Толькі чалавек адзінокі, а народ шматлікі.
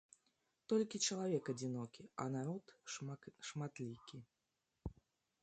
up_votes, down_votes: 0, 2